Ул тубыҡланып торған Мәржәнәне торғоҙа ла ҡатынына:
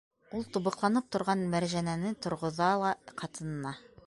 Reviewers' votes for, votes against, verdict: 2, 0, accepted